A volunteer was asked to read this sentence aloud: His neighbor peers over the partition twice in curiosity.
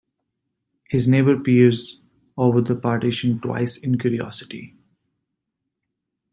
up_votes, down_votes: 2, 0